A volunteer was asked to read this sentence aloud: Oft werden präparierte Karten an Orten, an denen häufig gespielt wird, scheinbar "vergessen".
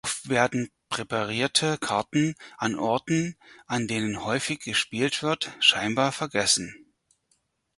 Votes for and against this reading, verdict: 2, 4, rejected